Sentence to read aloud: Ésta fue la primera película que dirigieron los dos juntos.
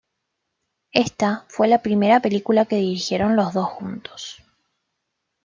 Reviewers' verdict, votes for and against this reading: accepted, 2, 1